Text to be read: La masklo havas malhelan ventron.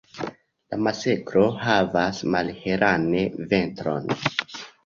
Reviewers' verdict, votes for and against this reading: rejected, 0, 2